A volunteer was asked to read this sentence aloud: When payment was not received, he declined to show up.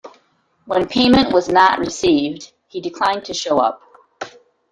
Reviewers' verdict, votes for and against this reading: accepted, 2, 1